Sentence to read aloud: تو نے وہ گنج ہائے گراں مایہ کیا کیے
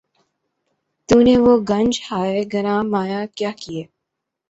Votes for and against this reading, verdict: 3, 0, accepted